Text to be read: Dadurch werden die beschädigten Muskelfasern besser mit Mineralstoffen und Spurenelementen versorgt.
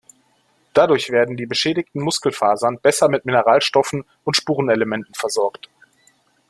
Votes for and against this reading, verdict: 3, 0, accepted